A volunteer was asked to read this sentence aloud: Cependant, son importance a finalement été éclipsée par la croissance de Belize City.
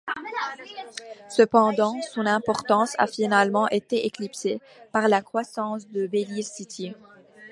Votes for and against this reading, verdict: 3, 0, accepted